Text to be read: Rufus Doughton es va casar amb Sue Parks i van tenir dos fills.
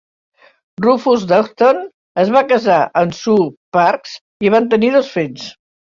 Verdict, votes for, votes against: rejected, 1, 2